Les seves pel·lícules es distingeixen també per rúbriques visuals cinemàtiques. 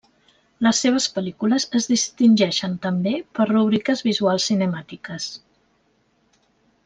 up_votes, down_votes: 1, 2